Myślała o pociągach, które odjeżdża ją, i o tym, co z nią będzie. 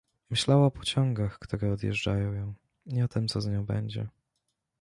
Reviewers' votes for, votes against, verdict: 1, 2, rejected